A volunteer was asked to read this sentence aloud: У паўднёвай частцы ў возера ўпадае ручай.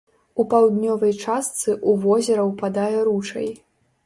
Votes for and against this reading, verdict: 0, 3, rejected